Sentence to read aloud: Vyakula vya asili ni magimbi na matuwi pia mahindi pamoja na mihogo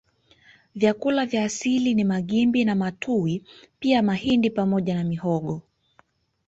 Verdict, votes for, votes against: rejected, 1, 2